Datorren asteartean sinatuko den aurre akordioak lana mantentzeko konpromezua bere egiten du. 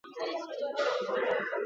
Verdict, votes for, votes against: rejected, 0, 6